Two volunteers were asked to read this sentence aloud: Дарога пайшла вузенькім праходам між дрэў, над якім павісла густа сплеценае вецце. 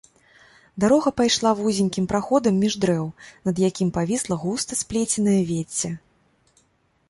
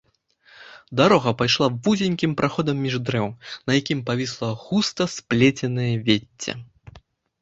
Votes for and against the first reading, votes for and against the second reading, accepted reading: 2, 0, 0, 2, first